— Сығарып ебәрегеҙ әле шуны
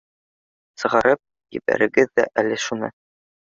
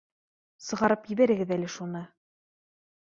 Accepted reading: second